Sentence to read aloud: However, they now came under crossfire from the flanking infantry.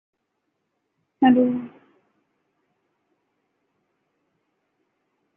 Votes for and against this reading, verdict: 0, 2, rejected